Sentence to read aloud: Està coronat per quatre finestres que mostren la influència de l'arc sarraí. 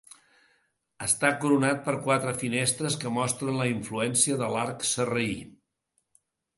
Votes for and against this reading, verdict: 2, 0, accepted